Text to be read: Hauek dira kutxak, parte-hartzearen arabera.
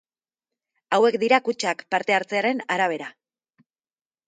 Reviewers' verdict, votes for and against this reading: accepted, 2, 0